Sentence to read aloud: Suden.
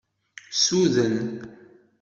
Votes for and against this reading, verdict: 2, 0, accepted